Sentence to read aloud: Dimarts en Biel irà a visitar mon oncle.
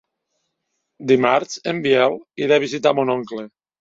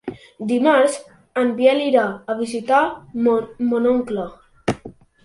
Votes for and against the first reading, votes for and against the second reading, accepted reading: 2, 0, 0, 2, first